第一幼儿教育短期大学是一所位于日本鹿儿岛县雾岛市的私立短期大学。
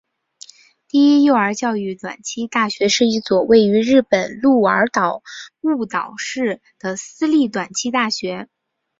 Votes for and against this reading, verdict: 0, 2, rejected